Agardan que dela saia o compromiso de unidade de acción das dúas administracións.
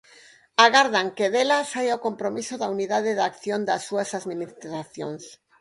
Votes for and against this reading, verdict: 2, 4, rejected